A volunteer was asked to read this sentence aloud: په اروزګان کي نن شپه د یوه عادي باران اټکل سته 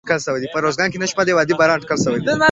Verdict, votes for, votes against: rejected, 0, 3